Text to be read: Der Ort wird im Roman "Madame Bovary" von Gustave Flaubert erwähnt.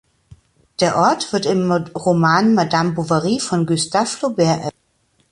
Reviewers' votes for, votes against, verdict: 0, 2, rejected